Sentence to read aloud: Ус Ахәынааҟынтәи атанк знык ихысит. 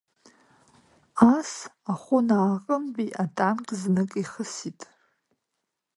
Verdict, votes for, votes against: accepted, 2, 0